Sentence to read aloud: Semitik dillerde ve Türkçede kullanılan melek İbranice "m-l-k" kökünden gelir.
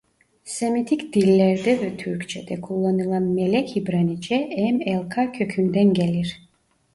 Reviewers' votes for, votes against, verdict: 1, 2, rejected